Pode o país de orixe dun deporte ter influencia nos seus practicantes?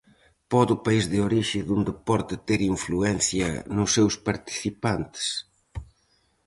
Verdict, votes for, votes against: rejected, 0, 4